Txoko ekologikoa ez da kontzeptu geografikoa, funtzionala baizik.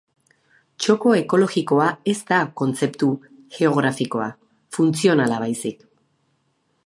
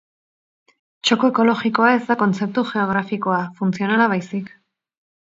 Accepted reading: first